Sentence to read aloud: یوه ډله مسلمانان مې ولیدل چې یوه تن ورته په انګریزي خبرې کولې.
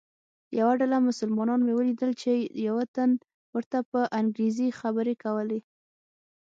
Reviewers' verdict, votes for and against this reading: accepted, 6, 0